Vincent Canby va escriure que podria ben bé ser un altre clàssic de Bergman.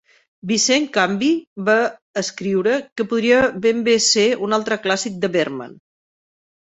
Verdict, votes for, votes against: rejected, 1, 3